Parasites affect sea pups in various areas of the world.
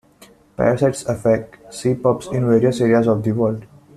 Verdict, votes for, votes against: rejected, 1, 2